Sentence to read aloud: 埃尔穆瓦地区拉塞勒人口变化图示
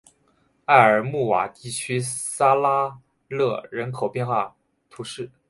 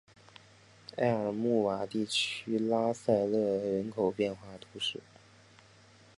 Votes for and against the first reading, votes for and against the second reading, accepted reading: 0, 2, 2, 1, second